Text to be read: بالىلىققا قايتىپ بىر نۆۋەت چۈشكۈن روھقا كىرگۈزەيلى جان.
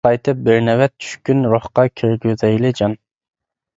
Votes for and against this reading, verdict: 0, 2, rejected